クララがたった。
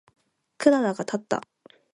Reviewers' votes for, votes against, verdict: 2, 0, accepted